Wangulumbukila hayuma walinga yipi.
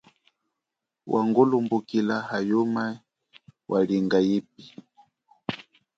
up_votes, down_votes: 1, 2